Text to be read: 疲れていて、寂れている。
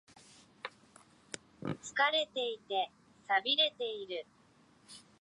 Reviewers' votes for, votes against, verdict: 0, 2, rejected